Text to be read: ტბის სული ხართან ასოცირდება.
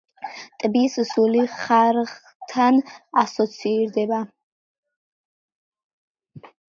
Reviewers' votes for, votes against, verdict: 2, 0, accepted